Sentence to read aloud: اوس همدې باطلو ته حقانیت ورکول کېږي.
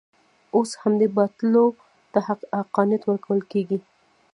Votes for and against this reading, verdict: 1, 2, rejected